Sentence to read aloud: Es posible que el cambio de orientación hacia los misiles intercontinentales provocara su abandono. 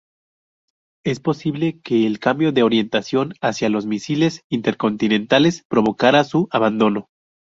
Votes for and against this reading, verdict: 2, 0, accepted